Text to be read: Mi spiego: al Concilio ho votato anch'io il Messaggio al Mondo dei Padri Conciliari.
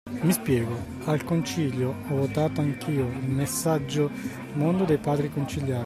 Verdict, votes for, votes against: rejected, 0, 2